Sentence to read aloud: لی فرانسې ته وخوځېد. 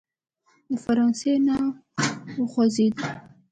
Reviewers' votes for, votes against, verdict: 1, 2, rejected